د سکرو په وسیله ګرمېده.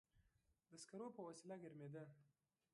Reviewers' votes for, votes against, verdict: 0, 2, rejected